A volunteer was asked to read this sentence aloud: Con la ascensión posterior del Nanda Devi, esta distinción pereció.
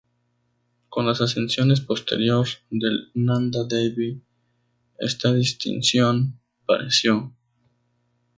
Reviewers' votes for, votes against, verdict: 0, 2, rejected